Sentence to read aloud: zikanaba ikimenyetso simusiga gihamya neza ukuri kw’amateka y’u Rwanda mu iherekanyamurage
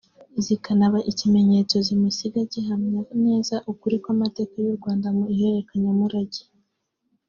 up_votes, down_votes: 4, 0